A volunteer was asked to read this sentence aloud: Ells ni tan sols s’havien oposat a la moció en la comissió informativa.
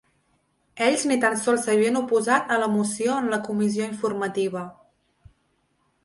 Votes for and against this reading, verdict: 3, 0, accepted